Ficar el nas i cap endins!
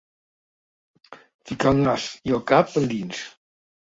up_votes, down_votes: 0, 2